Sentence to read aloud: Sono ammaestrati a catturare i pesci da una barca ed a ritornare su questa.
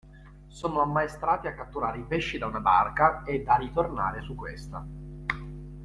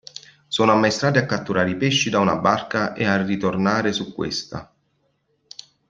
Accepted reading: first